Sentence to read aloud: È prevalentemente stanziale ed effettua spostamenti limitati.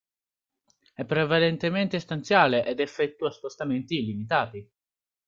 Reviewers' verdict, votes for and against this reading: accepted, 2, 1